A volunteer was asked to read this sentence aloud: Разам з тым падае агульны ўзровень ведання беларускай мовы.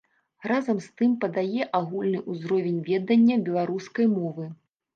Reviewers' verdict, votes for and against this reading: rejected, 1, 3